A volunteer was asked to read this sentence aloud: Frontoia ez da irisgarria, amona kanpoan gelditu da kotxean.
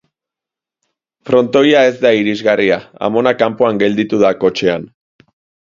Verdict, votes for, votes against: accepted, 2, 0